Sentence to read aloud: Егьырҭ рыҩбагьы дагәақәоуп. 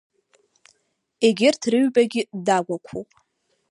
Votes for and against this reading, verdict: 2, 0, accepted